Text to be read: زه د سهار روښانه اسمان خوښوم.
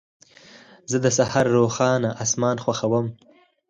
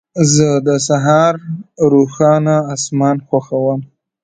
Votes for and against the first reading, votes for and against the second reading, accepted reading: 0, 4, 2, 1, second